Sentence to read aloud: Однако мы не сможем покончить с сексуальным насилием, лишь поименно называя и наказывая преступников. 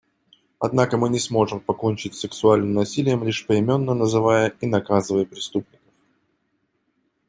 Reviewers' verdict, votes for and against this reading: accepted, 2, 0